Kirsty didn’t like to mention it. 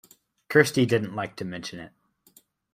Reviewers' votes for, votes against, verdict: 2, 1, accepted